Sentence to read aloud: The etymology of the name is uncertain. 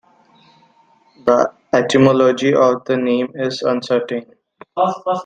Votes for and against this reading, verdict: 3, 2, accepted